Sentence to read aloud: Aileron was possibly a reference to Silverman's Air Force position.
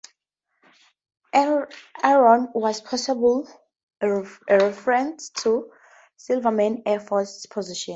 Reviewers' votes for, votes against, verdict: 2, 4, rejected